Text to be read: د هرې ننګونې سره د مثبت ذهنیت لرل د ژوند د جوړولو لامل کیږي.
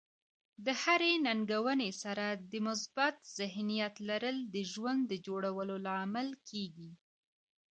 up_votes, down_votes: 2, 0